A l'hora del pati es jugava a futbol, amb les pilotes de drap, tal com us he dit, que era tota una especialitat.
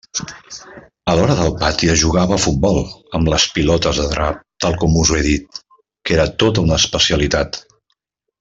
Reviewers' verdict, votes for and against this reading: rejected, 1, 2